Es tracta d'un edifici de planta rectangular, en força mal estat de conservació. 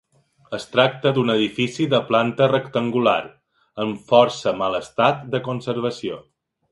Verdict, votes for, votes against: accepted, 2, 0